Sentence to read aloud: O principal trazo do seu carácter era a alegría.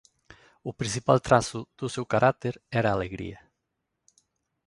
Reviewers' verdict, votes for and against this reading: accepted, 2, 0